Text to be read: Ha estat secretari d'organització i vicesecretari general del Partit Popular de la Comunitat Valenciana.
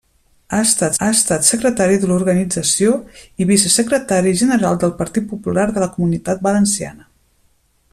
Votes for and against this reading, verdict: 0, 2, rejected